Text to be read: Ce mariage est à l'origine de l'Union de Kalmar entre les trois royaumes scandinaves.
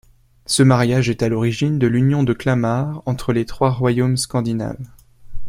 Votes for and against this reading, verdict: 2, 1, accepted